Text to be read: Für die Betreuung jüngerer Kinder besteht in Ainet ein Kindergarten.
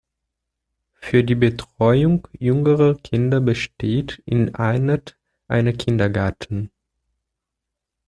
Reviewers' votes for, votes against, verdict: 0, 2, rejected